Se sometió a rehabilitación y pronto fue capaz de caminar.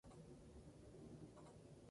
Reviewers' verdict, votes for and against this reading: rejected, 0, 2